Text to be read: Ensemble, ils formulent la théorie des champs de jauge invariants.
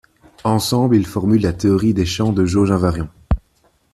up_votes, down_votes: 2, 0